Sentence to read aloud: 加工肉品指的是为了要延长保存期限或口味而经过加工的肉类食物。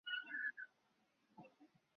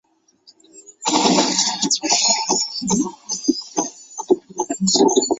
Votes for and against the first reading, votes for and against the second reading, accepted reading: 2, 0, 1, 2, first